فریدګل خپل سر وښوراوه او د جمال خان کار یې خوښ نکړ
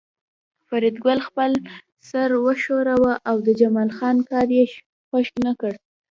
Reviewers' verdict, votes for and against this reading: accepted, 2, 0